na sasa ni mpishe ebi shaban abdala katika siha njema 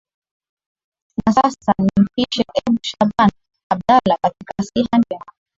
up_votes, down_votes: 0, 2